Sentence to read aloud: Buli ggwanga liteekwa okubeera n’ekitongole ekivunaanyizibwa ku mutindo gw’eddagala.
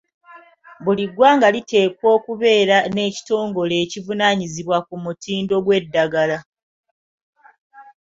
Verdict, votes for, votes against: accepted, 2, 0